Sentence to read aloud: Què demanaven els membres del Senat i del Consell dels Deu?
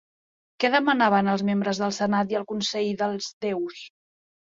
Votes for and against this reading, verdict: 0, 2, rejected